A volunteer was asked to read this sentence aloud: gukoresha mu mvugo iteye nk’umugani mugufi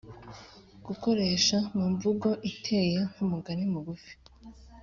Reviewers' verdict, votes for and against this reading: accepted, 2, 0